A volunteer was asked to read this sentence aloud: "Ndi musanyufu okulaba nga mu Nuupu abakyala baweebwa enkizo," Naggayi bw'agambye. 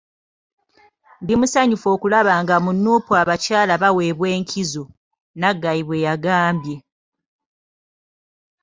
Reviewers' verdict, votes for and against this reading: accepted, 2, 1